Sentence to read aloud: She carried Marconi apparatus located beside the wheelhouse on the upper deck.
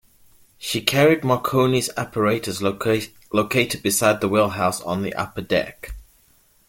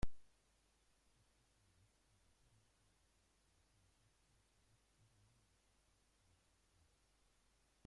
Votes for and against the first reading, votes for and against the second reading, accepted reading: 2, 1, 0, 2, first